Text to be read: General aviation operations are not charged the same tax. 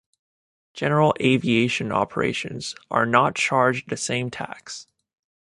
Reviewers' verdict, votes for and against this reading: accepted, 2, 0